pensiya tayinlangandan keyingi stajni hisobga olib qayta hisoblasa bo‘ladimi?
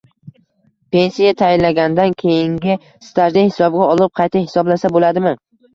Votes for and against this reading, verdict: 0, 2, rejected